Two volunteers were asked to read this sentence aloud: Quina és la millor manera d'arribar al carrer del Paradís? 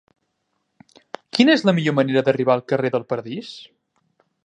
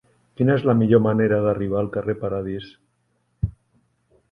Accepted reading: first